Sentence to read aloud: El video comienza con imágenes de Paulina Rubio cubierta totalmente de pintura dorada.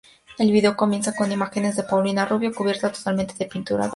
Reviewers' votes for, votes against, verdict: 2, 0, accepted